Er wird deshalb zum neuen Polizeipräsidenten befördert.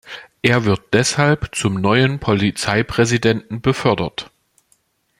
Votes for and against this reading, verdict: 3, 0, accepted